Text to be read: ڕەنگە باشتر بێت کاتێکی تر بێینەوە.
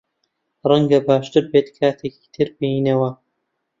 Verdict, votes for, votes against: accepted, 2, 0